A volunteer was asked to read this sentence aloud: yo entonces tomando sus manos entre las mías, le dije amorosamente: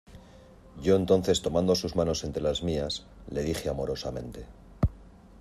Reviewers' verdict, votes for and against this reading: accepted, 2, 0